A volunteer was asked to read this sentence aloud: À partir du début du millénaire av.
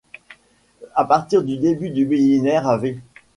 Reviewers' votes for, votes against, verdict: 1, 2, rejected